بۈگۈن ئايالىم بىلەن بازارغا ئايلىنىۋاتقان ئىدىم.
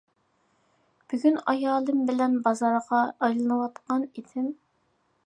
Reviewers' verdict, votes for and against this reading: accepted, 2, 0